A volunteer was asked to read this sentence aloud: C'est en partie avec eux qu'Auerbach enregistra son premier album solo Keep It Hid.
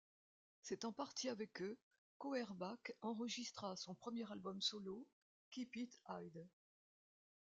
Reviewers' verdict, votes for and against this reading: accepted, 2, 0